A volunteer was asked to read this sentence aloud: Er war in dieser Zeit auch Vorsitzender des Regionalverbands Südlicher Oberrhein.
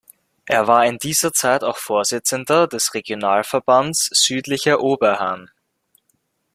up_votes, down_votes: 0, 2